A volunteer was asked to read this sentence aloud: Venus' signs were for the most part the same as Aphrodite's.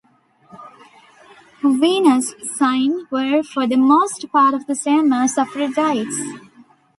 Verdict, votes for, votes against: rejected, 1, 2